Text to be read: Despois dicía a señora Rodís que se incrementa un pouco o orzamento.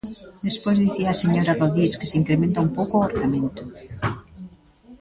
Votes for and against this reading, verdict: 1, 2, rejected